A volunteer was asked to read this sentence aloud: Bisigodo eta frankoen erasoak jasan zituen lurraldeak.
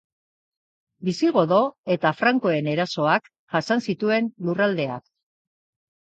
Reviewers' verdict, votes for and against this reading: accepted, 7, 0